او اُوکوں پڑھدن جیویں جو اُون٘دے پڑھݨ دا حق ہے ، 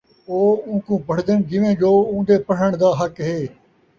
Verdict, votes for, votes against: accepted, 2, 0